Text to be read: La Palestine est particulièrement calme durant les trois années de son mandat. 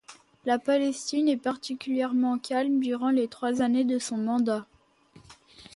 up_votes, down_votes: 2, 0